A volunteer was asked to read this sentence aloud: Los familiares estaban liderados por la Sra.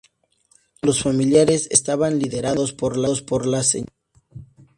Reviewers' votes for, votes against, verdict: 0, 2, rejected